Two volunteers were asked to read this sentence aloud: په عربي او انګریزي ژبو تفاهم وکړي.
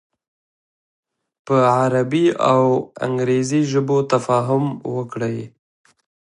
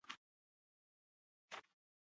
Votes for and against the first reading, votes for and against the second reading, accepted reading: 2, 0, 1, 2, first